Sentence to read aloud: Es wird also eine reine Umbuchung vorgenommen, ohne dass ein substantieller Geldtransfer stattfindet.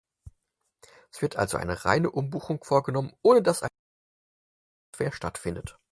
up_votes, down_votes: 0, 4